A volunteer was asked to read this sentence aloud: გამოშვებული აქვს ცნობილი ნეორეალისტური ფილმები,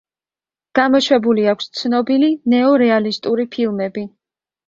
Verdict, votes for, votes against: accepted, 2, 0